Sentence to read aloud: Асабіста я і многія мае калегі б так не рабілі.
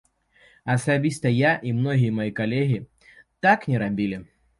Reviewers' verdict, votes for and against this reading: rejected, 0, 2